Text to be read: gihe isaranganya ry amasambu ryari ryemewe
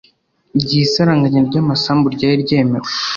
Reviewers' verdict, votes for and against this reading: accepted, 2, 0